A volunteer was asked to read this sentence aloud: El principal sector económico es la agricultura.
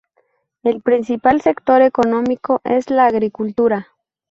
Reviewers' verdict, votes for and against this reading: accepted, 2, 0